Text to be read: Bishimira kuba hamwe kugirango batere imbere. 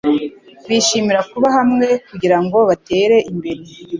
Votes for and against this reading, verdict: 2, 0, accepted